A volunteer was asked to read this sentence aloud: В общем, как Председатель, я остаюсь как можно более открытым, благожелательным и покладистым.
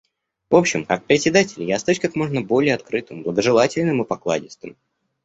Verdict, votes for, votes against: accepted, 2, 0